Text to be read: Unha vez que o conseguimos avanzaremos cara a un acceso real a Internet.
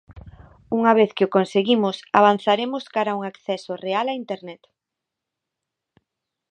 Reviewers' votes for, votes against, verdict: 2, 0, accepted